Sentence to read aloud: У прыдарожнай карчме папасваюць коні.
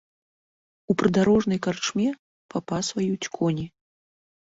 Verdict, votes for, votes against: accepted, 2, 0